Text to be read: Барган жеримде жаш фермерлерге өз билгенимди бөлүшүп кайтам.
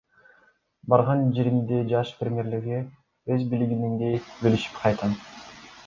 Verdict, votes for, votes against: rejected, 1, 2